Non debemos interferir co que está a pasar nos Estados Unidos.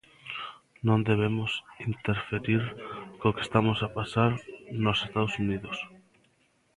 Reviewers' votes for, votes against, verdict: 0, 2, rejected